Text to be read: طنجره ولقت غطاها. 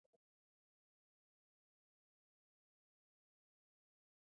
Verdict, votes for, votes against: rejected, 0, 2